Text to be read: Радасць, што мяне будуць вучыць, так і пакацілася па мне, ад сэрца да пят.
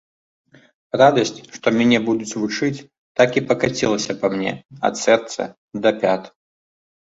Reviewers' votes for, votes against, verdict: 2, 0, accepted